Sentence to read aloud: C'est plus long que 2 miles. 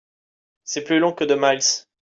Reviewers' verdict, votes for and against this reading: rejected, 0, 2